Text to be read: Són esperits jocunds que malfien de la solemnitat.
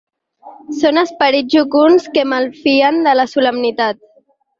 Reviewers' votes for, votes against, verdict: 4, 0, accepted